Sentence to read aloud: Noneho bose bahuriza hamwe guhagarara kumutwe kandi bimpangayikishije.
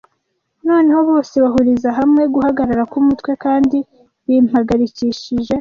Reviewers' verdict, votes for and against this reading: rejected, 1, 2